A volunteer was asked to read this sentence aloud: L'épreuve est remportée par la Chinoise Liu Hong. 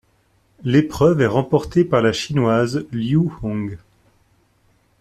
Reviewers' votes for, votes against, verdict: 2, 0, accepted